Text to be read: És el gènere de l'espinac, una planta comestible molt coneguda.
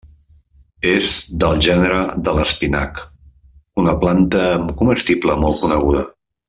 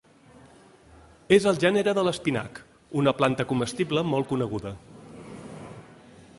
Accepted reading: second